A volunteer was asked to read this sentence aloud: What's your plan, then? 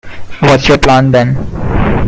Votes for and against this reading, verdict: 2, 1, accepted